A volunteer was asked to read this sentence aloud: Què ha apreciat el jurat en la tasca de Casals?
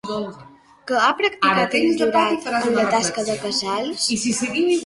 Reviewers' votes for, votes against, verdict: 0, 2, rejected